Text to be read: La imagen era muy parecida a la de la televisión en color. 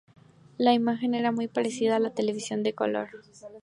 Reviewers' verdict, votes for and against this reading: rejected, 0, 2